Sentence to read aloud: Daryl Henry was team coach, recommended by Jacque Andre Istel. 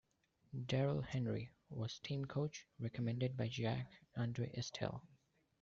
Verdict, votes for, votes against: rejected, 0, 2